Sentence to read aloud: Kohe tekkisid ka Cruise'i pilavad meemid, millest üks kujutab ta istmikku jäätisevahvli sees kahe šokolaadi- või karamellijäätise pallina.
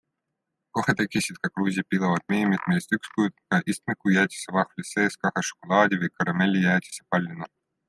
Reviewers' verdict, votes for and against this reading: rejected, 1, 2